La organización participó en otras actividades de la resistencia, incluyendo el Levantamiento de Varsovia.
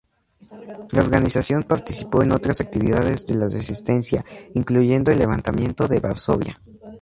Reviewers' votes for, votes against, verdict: 0, 2, rejected